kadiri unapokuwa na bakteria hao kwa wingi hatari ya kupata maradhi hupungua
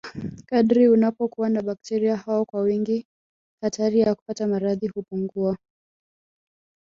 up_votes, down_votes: 2, 1